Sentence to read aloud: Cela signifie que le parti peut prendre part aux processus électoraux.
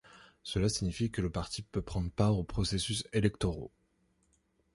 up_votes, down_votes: 2, 0